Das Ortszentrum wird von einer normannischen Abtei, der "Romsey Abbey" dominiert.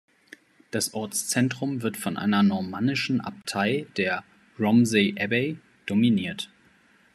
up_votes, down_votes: 2, 0